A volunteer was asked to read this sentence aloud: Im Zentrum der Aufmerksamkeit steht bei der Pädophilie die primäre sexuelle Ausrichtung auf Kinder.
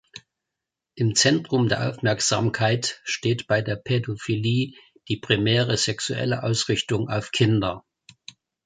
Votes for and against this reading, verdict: 2, 0, accepted